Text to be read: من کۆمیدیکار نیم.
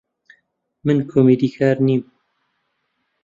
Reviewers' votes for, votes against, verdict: 2, 0, accepted